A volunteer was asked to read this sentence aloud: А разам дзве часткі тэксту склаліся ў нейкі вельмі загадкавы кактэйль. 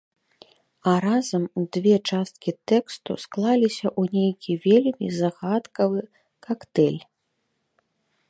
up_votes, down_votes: 2, 1